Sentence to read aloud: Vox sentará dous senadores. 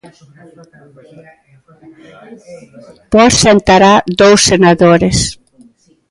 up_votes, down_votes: 2, 1